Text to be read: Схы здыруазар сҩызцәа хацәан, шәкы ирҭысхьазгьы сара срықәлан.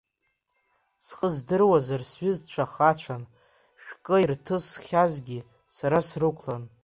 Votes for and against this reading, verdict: 2, 3, rejected